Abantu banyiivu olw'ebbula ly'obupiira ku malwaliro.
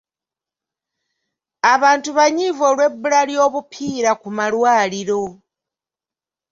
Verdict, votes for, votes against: accepted, 2, 0